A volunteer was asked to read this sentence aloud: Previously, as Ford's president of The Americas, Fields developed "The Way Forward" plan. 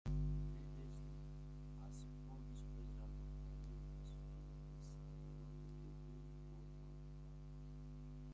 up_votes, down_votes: 1, 2